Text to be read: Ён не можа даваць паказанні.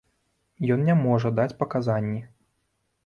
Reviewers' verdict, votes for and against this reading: rejected, 0, 2